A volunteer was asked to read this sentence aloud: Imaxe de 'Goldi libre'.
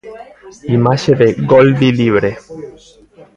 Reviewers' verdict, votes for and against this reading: accepted, 2, 0